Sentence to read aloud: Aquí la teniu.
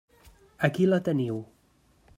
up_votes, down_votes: 3, 0